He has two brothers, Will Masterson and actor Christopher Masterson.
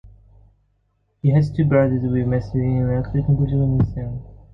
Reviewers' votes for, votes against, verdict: 0, 2, rejected